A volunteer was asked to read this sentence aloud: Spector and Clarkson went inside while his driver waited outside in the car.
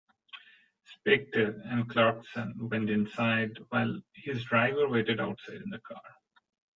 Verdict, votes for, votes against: rejected, 1, 2